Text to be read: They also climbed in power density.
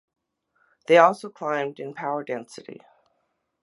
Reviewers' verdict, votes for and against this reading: accepted, 3, 0